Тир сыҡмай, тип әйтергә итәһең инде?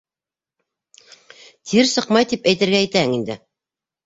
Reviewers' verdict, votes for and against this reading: accepted, 2, 1